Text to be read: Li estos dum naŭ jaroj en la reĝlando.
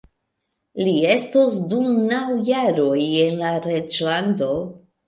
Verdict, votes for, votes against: accepted, 3, 1